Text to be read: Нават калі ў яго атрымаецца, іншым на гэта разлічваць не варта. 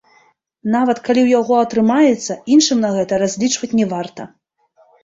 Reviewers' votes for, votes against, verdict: 2, 1, accepted